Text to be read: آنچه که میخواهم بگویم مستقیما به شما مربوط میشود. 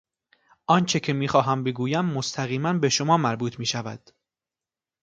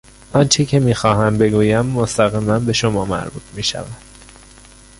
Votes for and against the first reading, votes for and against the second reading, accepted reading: 2, 0, 1, 2, first